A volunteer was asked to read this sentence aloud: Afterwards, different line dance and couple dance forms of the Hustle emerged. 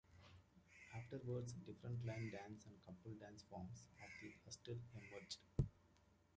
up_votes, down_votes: 0, 2